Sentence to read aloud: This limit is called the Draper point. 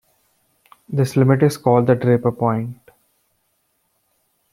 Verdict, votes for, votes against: accepted, 2, 0